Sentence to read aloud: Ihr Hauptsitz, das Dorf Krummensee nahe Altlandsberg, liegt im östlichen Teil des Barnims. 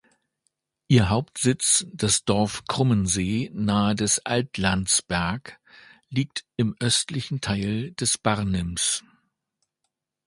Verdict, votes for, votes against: rejected, 1, 2